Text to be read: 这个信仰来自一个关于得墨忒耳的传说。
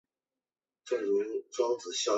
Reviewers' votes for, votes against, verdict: 0, 4, rejected